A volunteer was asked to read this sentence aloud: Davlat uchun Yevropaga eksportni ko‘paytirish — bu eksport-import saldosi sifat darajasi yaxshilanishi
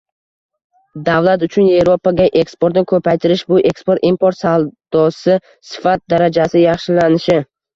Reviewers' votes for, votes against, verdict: 1, 2, rejected